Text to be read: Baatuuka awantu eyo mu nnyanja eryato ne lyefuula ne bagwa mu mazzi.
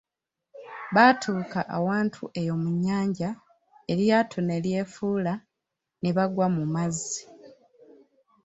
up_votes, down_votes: 2, 0